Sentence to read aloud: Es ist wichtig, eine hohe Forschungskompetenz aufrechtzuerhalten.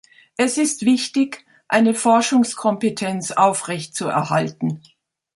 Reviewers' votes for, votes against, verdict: 1, 3, rejected